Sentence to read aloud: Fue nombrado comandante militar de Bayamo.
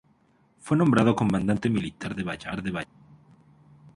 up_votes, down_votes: 0, 2